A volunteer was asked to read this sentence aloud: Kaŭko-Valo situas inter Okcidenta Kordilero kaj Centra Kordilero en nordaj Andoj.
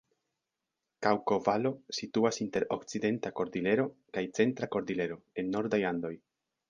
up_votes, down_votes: 3, 0